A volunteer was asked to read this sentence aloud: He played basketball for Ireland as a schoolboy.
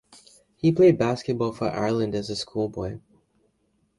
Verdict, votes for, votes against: accepted, 2, 0